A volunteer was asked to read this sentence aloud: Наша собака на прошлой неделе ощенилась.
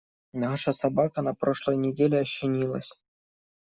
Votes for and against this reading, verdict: 2, 0, accepted